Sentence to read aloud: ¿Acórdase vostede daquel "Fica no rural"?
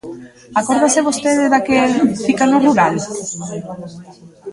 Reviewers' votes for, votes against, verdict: 0, 2, rejected